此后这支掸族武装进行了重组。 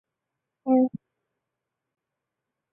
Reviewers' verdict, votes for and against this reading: rejected, 0, 2